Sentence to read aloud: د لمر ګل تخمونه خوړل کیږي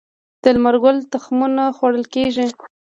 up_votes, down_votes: 1, 2